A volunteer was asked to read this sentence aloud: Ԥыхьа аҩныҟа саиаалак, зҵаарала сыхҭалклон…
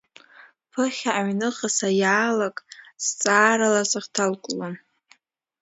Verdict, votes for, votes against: accepted, 2, 0